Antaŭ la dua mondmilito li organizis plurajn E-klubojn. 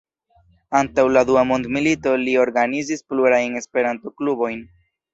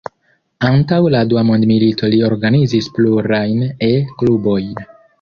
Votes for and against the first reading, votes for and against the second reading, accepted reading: 2, 0, 1, 2, first